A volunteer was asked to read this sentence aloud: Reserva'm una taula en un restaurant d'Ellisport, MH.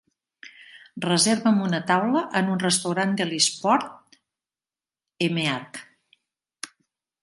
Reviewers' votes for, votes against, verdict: 1, 2, rejected